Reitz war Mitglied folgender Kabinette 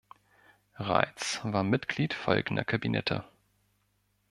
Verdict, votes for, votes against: accepted, 2, 0